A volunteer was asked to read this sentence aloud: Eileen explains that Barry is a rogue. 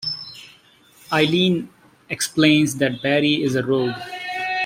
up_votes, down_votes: 0, 2